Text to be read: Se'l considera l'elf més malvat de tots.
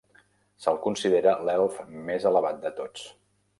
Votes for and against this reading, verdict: 0, 2, rejected